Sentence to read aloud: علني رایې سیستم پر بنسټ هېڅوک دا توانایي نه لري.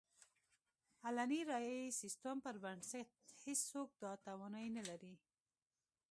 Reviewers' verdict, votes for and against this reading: rejected, 0, 2